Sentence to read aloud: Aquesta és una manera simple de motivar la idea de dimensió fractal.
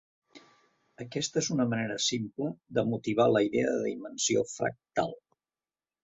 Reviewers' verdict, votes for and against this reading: accepted, 3, 0